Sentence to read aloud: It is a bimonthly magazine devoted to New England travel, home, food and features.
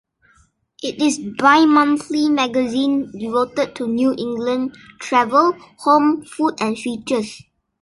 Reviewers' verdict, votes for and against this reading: rejected, 0, 2